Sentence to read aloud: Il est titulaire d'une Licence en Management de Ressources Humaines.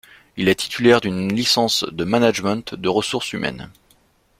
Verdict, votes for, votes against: rejected, 1, 2